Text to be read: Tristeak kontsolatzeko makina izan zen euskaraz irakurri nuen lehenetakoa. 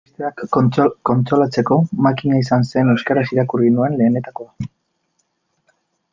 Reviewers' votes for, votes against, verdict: 0, 2, rejected